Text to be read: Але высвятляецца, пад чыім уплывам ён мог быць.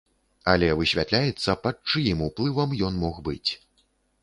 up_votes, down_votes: 2, 0